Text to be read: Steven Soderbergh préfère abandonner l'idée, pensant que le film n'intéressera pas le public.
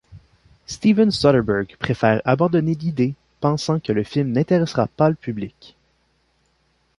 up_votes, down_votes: 2, 0